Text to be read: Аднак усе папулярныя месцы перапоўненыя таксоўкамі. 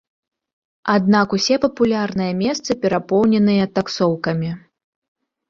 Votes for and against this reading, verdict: 2, 0, accepted